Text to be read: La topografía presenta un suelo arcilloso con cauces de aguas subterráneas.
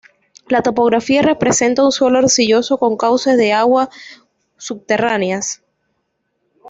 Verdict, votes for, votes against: rejected, 0, 2